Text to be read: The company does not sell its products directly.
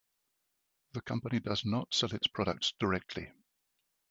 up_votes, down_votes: 2, 0